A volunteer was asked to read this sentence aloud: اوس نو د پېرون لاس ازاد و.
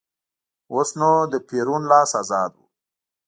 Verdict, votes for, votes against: accepted, 2, 0